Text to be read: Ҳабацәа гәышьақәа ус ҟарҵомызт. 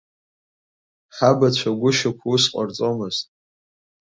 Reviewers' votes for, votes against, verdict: 2, 0, accepted